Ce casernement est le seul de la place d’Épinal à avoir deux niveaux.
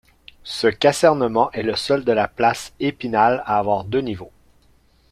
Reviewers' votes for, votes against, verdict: 2, 1, accepted